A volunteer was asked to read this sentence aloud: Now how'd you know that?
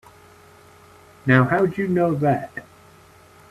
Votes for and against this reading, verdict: 2, 1, accepted